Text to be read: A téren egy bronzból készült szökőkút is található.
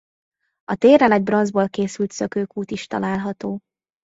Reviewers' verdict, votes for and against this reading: accepted, 2, 0